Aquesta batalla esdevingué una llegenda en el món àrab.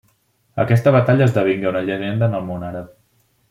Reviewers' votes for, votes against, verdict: 2, 0, accepted